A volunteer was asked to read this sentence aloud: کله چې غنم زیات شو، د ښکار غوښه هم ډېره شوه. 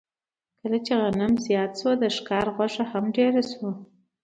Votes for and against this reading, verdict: 2, 0, accepted